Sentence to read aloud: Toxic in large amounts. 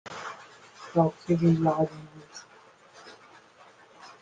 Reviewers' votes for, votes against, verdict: 0, 2, rejected